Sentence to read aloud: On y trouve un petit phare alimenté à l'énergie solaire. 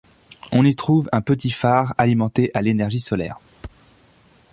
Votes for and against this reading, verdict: 2, 0, accepted